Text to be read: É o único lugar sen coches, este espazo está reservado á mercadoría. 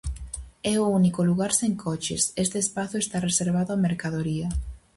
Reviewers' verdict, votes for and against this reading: accepted, 4, 0